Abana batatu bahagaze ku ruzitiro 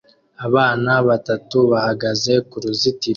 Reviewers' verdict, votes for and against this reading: rejected, 1, 2